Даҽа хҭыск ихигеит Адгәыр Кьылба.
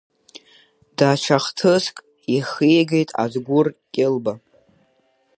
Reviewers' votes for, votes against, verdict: 2, 1, accepted